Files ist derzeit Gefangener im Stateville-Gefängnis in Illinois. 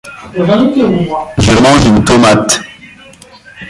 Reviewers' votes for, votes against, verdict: 0, 2, rejected